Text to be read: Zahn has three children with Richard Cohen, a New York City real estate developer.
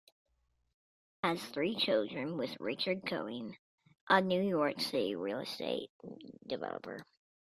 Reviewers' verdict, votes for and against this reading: rejected, 0, 2